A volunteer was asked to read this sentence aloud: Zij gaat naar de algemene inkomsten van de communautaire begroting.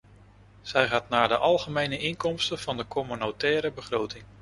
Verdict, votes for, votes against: accepted, 2, 0